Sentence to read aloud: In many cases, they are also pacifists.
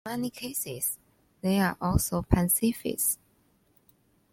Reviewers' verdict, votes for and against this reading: rejected, 1, 2